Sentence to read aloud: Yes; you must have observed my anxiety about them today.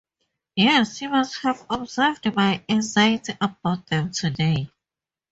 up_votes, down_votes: 2, 0